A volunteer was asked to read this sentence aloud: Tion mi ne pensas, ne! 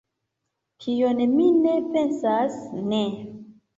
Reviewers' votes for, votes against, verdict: 2, 1, accepted